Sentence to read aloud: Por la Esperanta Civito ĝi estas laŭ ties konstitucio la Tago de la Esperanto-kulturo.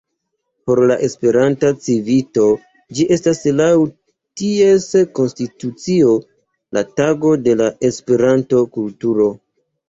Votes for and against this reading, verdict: 2, 1, accepted